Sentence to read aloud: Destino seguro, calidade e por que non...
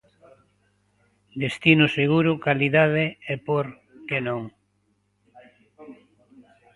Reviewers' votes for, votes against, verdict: 1, 2, rejected